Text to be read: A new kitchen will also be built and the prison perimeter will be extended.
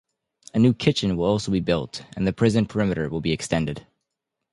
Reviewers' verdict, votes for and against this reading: rejected, 0, 2